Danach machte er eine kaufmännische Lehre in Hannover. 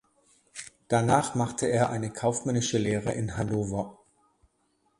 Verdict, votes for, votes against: rejected, 1, 2